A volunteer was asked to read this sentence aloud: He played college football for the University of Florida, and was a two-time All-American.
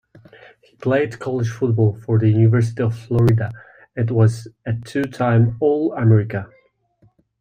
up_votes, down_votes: 2, 0